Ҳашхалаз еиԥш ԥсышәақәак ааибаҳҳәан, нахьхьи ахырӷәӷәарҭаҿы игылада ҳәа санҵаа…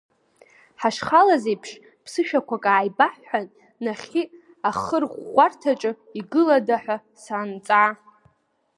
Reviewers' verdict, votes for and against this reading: rejected, 0, 2